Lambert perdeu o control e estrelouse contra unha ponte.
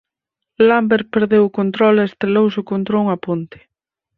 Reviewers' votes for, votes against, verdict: 4, 0, accepted